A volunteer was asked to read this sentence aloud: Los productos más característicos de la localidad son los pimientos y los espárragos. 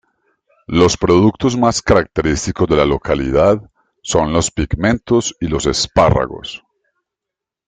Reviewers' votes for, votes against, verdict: 0, 2, rejected